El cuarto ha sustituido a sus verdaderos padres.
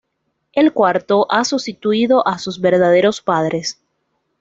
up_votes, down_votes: 2, 1